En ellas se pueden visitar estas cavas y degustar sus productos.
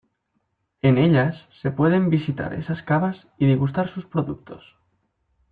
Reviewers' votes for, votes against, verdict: 1, 2, rejected